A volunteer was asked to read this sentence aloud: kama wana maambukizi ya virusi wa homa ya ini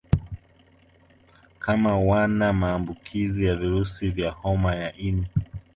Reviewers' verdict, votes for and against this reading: accepted, 2, 1